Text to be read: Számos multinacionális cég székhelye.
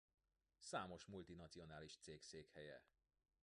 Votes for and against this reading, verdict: 1, 2, rejected